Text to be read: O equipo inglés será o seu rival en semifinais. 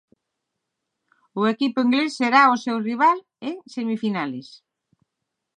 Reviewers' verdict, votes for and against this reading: accepted, 6, 0